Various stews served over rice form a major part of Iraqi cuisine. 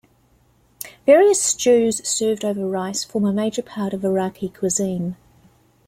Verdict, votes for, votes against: accepted, 2, 0